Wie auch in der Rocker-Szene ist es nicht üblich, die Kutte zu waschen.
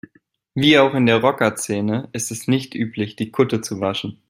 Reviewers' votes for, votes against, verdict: 2, 0, accepted